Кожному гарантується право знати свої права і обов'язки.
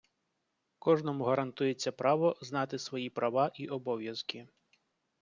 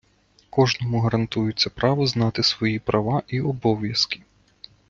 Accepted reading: first